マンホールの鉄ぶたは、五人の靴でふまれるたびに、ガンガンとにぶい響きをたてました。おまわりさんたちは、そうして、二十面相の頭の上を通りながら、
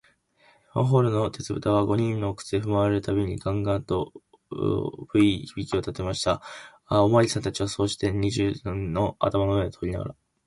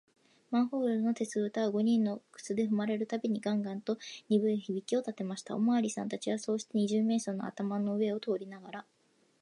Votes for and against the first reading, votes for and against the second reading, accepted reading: 1, 2, 2, 0, second